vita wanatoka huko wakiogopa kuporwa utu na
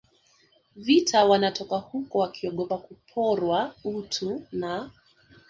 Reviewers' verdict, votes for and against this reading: accepted, 2, 0